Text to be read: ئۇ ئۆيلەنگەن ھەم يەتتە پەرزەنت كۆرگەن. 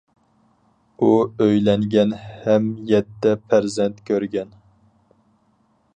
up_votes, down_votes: 4, 0